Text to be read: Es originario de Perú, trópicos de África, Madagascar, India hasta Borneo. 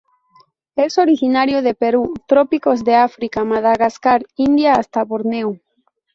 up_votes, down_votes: 0, 2